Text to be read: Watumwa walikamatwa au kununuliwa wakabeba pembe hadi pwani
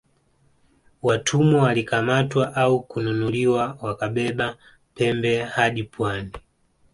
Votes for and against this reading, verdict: 2, 0, accepted